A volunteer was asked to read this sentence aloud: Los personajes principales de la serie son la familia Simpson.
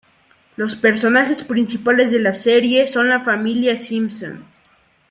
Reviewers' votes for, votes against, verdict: 2, 1, accepted